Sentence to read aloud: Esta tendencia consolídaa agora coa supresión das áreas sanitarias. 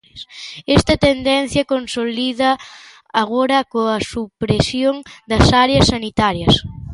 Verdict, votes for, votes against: accepted, 2, 0